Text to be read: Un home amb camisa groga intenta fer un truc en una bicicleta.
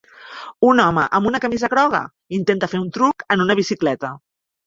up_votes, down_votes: 0, 2